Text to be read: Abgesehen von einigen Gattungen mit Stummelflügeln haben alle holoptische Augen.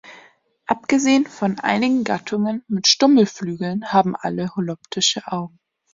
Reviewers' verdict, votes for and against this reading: accepted, 2, 0